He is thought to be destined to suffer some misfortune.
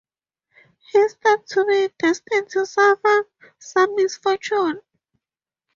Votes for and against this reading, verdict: 2, 0, accepted